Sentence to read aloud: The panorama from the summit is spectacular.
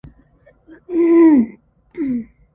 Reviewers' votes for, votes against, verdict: 0, 2, rejected